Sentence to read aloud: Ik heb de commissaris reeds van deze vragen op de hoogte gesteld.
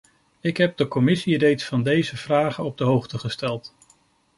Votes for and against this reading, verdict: 0, 2, rejected